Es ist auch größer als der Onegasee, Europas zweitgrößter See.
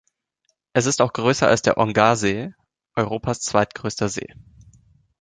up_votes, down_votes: 1, 2